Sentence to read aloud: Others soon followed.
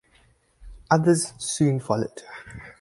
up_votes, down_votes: 4, 0